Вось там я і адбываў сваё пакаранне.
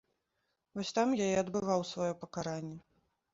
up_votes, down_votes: 2, 0